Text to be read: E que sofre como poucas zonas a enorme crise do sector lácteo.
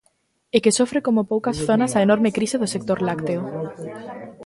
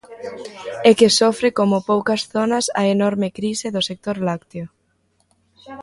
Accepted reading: first